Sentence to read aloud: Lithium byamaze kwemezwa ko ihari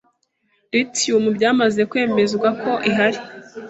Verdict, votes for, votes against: accepted, 2, 0